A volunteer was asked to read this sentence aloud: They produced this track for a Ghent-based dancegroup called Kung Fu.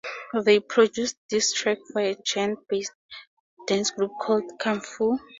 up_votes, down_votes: 2, 0